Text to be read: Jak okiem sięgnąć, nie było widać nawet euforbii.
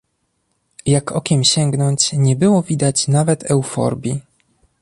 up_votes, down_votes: 2, 0